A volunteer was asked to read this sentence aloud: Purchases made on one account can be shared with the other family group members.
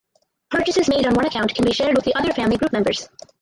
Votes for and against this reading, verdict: 0, 4, rejected